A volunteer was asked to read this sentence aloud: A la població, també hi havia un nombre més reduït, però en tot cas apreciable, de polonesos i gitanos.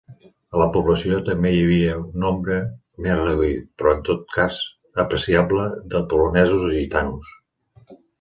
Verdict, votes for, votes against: accepted, 2, 0